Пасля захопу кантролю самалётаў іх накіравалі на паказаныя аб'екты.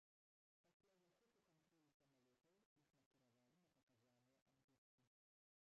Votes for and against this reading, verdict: 0, 2, rejected